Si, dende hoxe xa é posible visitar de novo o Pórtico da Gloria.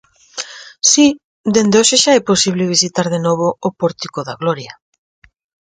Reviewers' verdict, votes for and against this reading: accepted, 4, 0